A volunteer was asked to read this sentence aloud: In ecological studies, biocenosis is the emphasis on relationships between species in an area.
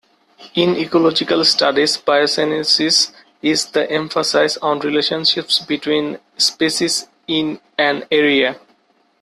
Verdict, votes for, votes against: accepted, 2, 1